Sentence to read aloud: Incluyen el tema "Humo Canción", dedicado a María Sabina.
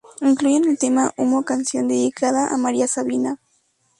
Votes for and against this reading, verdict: 2, 4, rejected